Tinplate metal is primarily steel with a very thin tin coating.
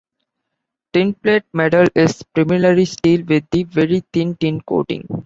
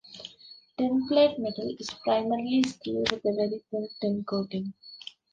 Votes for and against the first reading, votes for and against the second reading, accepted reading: 2, 0, 0, 2, first